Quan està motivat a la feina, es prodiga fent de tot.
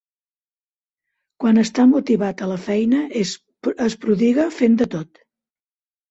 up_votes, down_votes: 0, 2